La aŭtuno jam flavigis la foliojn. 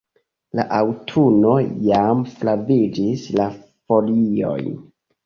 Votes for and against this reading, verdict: 0, 3, rejected